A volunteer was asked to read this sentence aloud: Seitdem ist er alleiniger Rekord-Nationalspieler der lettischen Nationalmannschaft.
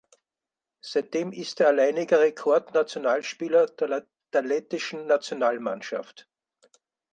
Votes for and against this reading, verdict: 2, 4, rejected